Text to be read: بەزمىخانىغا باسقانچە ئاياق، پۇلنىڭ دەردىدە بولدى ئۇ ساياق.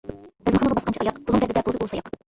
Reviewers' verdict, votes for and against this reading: rejected, 0, 2